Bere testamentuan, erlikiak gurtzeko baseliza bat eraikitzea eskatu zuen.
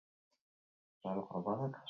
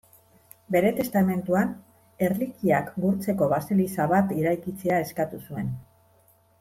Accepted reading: second